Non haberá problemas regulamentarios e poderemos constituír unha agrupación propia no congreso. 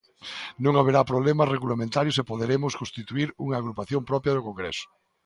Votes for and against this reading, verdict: 2, 0, accepted